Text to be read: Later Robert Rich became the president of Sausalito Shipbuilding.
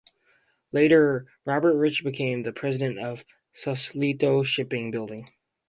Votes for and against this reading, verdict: 0, 4, rejected